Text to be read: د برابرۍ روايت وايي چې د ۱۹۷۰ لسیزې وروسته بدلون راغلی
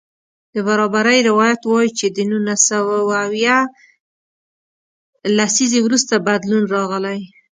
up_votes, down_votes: 0, 2